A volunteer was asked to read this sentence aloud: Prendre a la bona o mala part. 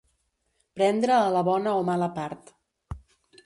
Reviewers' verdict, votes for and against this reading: accepted, 2, 0